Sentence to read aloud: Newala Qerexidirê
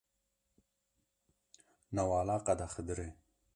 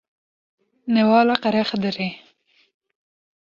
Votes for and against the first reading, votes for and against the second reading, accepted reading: 1, 2, 2, 0, second